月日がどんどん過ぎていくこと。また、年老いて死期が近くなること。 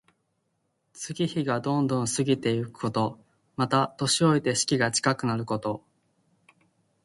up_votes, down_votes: 2, 0